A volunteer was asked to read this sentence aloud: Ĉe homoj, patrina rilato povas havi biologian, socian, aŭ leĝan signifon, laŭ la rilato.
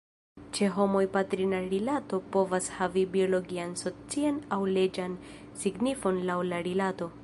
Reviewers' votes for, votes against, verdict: 1, 2, rejected